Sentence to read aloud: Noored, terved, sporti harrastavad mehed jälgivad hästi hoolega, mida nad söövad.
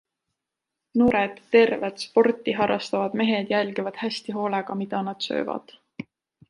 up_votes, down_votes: 2, 0